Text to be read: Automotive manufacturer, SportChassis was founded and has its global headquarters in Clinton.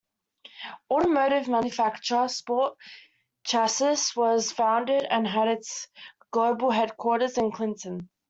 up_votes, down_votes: 1, 2